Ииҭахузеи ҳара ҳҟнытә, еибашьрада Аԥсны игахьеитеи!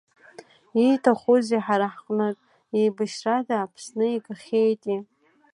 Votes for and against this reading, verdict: 2, 0, accepted